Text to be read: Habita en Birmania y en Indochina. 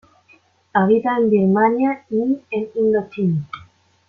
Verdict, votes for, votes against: rejected, 1, 2